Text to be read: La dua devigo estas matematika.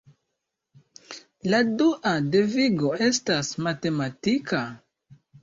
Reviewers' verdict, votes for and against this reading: accepted, 2, 0